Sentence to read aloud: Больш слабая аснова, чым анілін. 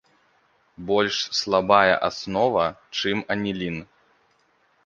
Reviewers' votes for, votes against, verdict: 2, 0, accepted